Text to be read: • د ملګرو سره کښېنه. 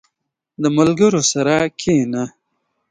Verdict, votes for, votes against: accepted, 3, 1